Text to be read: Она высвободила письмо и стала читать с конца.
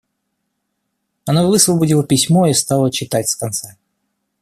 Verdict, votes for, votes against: accepted, 2, 0